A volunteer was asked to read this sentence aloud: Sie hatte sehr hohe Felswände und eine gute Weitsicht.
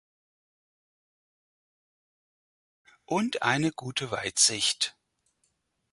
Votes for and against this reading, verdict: 0, 4, rejected